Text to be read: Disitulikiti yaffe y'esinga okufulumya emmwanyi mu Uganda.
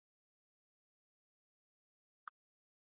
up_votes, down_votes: 0, 2